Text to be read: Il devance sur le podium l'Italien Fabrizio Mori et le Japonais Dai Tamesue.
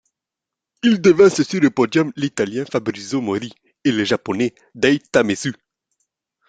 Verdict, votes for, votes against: rejected, 1, 2